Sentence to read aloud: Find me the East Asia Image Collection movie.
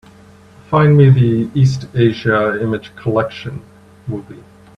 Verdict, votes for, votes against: accepted, 2, 0